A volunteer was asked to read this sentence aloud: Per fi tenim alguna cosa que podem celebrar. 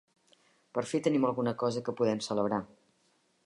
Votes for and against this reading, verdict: 3, 0, accepted